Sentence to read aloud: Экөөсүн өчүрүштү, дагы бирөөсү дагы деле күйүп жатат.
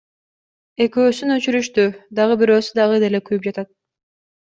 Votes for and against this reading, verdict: 2, 0, accepted